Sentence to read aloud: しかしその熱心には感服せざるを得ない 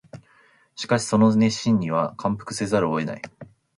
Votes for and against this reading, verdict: 2, 0, accepted